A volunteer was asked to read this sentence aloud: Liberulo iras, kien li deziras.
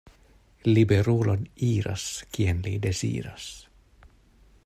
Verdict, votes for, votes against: rejected, 0, 2